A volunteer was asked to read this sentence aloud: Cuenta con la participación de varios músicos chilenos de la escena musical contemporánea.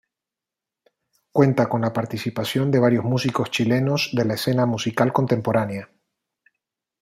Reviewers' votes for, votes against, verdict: 2, 0, accepted